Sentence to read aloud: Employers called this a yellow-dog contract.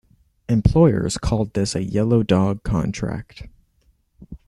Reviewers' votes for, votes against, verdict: 2, 0, accepted